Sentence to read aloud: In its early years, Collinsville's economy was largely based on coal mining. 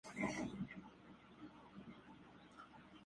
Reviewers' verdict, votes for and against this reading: rejected, 0, 2